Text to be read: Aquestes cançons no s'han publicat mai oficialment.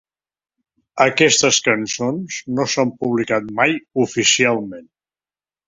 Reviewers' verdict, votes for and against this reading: accepted, 3, 0